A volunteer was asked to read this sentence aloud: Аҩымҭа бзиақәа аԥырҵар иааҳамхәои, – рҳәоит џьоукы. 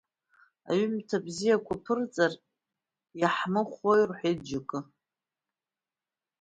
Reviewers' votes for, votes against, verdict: 2, 0, accepted